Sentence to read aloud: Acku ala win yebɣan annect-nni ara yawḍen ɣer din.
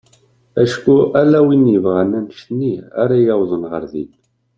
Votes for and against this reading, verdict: 2, 0, accepted